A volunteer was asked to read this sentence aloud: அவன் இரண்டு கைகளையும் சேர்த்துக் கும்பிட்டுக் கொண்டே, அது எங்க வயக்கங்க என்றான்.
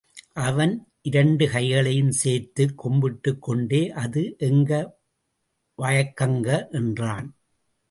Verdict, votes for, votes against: accepted, 2, 0